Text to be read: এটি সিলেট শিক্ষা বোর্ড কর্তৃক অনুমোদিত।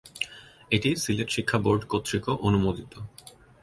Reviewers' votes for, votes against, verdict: 0, 2, rejected